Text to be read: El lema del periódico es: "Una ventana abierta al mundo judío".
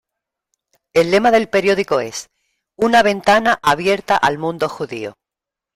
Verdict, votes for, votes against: accepted, 2, 1